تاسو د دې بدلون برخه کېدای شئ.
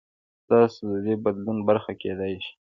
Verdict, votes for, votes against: accepted, 2, 0